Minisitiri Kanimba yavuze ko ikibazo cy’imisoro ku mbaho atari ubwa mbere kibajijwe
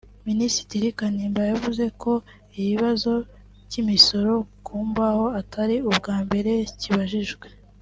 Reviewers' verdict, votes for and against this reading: accepted, 2, 1